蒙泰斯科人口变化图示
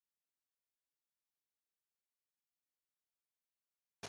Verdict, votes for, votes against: rejected, 0, 2